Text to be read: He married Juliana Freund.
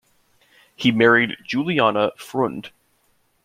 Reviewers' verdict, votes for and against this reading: accepted, 2, 1